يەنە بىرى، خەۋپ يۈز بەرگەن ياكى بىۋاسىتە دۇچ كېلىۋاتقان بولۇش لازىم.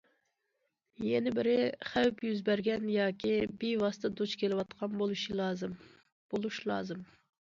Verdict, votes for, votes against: rejected, 0, 2